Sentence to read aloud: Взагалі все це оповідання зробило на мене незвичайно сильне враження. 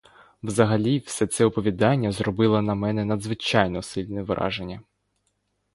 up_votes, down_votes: 1, 2